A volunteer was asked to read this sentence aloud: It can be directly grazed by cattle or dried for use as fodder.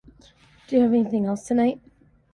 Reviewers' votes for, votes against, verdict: 0, 2, rejected